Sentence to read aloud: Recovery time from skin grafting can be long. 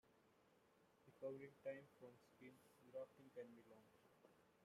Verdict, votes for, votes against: rejected, 0, 2